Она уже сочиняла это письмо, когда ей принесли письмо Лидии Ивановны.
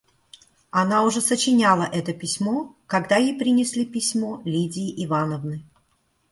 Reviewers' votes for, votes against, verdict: 2, 0, accepted